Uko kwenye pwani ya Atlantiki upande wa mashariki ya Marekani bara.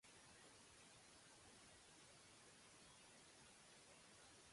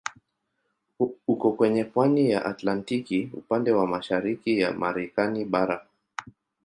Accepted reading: second